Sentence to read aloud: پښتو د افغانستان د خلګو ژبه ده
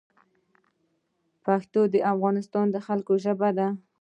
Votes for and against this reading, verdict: 1, 2, rejected